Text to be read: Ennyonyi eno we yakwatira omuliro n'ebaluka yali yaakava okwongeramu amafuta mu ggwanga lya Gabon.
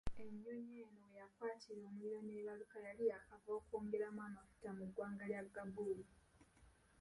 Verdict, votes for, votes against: rejected, 1, 2